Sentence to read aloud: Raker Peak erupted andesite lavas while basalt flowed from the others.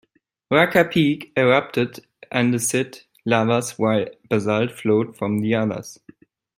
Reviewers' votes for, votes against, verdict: 0, 2, rejected